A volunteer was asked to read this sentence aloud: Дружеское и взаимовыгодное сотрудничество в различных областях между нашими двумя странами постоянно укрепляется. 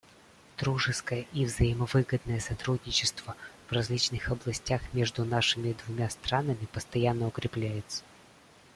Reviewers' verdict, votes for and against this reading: accepted, 2, 1